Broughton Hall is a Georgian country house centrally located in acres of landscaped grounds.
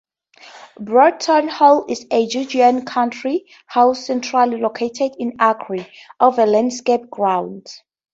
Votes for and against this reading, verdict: 0, 4, rejected